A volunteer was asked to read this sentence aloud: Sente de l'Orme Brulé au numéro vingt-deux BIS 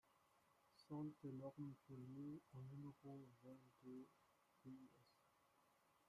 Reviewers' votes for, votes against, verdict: 0, 2, rejected